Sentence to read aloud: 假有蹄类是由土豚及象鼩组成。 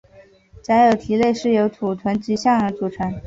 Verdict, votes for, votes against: accepted, 3, 2